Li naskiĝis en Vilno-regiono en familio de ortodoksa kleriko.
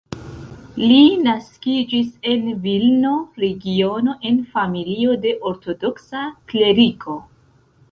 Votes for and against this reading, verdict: 2, 0, accepted